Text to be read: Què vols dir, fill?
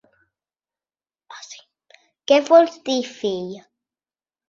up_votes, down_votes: 0, 4